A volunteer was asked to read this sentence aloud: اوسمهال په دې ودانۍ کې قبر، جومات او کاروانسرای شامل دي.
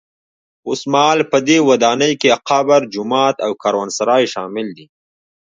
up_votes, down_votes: 2, 1